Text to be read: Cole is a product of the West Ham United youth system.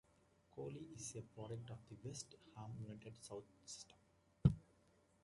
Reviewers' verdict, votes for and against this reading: rejected, 1, 2